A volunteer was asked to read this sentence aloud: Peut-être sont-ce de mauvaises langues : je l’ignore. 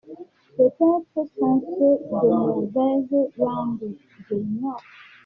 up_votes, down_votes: 0, 2